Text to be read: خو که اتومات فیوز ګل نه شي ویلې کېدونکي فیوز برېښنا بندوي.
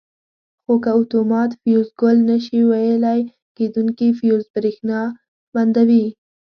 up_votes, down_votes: 0, 2